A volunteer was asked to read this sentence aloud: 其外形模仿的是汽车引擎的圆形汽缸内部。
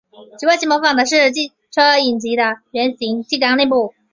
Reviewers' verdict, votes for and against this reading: rejected, 0, 2